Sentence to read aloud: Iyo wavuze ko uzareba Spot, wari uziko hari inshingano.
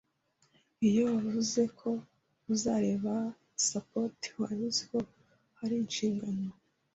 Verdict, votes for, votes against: rejected, 1, 2